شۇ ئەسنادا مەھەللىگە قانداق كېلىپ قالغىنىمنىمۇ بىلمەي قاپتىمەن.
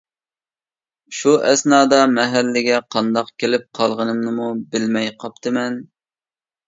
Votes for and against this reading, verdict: 2, 0, accepted